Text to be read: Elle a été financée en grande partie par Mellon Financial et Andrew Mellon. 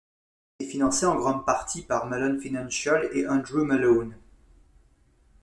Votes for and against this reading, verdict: 1, 2, rejected